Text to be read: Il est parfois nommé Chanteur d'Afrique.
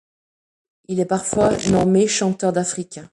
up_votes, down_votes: 0, 2